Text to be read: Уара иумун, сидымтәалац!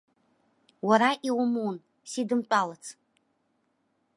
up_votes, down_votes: 2, 0